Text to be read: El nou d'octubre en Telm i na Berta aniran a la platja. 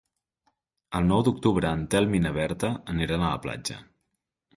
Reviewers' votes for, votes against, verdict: 2, 0, accepted